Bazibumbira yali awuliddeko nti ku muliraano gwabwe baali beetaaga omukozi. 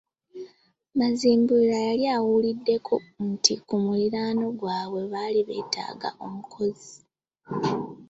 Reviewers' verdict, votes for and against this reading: rejected, 0, 2